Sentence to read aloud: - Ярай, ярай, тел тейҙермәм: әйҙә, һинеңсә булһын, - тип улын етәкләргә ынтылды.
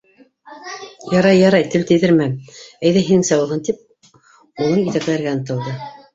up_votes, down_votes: 0, 2